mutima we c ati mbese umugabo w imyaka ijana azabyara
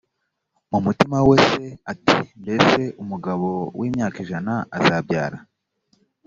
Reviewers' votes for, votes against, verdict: 0, 2, rejected